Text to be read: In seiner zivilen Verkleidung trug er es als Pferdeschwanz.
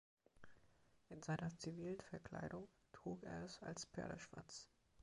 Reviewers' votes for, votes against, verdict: 2, 0, accepted